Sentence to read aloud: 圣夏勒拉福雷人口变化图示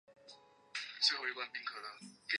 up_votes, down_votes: 1, 2